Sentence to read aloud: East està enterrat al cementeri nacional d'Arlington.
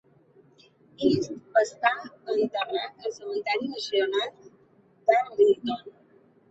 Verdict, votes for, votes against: rejected, 0, 2